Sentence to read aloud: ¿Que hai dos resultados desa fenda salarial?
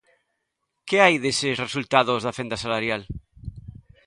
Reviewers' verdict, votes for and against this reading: rejected, 0, 2